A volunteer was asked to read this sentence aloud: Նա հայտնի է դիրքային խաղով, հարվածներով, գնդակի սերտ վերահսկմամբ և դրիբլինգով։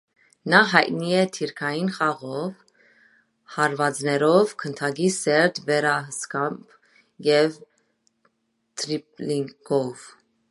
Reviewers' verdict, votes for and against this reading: rejected, 1, 2